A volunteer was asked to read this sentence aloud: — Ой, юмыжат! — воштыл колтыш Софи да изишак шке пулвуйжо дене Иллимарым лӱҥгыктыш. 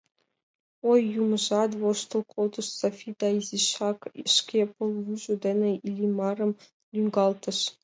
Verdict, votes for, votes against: rejected, 0, 2